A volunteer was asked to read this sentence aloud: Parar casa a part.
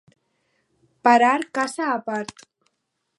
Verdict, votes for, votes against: accepted, 4, 0